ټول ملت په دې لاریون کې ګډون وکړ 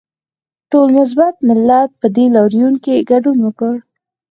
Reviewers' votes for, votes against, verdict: 4, 0, accepted